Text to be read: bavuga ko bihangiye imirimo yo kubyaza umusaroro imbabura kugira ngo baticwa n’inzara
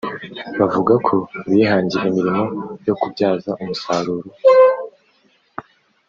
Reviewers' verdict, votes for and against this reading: rejected, 0, 2